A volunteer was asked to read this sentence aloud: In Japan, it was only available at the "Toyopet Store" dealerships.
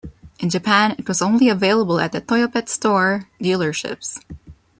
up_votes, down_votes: 2, 1